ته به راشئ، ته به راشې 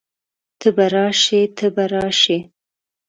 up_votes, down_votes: 2, 0